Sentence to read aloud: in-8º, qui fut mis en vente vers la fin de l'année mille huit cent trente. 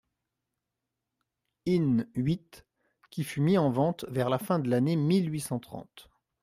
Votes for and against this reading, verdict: 0, 2, rejected